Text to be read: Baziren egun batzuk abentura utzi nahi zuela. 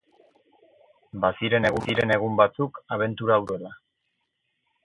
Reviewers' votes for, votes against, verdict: 0, 4, rejected